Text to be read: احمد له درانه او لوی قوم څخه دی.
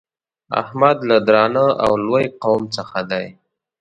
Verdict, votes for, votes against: accepted, 2, 0